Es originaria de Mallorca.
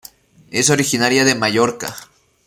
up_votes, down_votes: 2, 0